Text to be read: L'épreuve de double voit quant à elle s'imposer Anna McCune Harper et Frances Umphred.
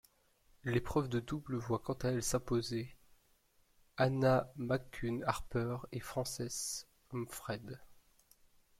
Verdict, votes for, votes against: rejected, 1, 2